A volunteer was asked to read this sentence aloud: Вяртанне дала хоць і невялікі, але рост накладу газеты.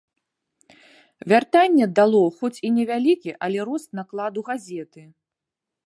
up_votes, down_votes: 0, 2